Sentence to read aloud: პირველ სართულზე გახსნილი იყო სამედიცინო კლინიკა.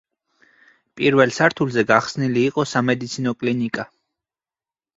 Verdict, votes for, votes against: accepted, 4, 0